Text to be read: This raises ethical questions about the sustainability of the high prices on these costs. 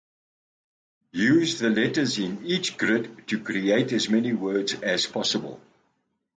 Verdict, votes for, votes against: rejected, 0, 2